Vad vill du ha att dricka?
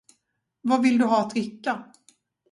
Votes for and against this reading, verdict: 2, 2, rejected